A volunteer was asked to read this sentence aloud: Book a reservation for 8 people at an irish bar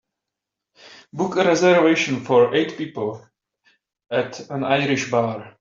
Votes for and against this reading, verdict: 0, 2, rejected